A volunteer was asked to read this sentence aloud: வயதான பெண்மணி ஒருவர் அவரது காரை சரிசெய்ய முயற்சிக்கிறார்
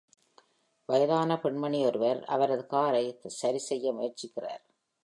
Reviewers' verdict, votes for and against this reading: accepted, 2, 0